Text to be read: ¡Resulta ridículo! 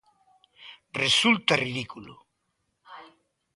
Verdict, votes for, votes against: accepted, 2, 0